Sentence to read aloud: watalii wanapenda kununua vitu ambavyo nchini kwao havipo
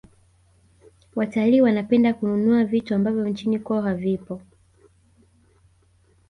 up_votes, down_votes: 2, 1